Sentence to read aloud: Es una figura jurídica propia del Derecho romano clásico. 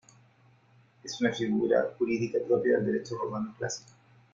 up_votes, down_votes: 1, 2